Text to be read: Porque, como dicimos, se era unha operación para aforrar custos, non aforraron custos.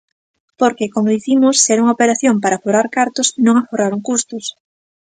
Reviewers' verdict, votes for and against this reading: rejected, 0, 2